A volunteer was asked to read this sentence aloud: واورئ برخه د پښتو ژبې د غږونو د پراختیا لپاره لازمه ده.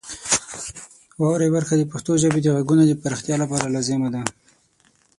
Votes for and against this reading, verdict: 6, 0, accepted